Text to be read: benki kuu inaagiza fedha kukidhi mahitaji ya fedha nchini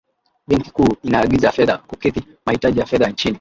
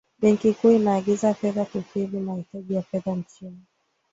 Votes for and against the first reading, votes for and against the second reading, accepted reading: 0, 2, 2, 0, second